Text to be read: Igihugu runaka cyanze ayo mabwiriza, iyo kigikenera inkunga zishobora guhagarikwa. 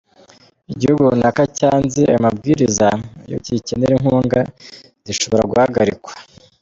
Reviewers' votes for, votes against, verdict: 2, 1, accepted